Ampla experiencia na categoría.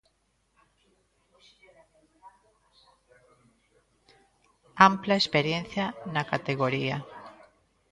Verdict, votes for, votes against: rejected, 1, 2